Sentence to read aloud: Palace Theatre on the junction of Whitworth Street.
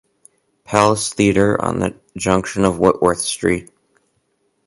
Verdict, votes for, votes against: accepted, 2, 0